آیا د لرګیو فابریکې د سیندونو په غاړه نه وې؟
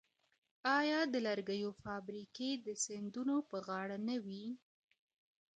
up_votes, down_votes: 2, 0